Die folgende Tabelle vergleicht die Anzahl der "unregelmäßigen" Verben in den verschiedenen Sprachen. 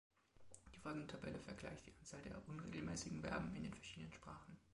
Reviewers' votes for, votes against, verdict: 2, 1, accepted